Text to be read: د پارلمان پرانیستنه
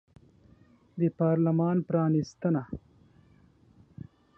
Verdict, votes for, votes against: accepted, 2, 0